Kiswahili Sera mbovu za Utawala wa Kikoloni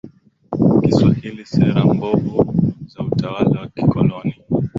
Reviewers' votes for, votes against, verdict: 2, 0, accepted